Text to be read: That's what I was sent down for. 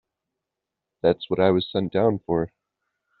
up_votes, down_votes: 2, 0